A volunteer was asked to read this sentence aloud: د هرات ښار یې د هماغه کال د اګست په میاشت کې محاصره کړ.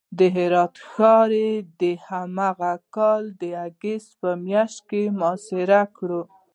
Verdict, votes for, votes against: rejected, 0, 2